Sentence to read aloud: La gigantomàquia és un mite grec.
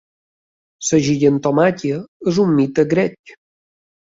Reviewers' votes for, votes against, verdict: 2, 0, accepted